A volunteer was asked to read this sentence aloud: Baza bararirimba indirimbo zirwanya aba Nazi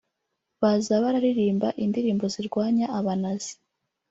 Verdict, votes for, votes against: rejected, 1, 2